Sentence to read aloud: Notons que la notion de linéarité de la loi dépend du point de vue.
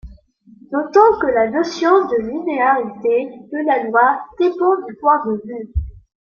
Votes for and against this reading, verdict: 1, 2, rejected